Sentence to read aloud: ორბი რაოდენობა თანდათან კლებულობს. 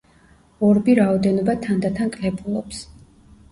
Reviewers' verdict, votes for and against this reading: accepted, 2, 1